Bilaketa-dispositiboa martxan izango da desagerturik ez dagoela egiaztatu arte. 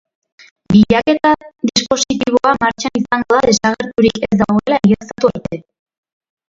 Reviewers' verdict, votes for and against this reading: rejected, 1, 3